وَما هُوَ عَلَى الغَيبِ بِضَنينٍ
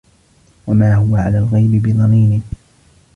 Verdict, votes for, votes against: accepted, 2, 1